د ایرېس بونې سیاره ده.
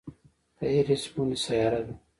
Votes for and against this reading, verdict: 2, 0, accepted